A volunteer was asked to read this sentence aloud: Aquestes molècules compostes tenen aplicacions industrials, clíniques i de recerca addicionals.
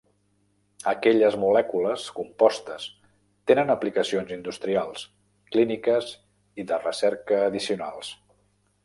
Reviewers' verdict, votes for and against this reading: rejected, 0, 2